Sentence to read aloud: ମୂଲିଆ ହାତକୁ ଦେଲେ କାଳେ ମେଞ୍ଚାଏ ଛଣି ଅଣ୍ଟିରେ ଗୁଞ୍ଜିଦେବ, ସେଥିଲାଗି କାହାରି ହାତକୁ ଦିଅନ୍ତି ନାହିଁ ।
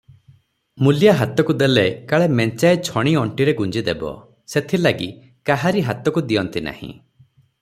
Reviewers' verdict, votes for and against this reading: rejected, 0, 3